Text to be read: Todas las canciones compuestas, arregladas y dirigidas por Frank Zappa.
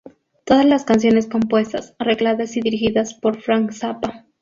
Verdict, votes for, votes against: accepted, 6, 0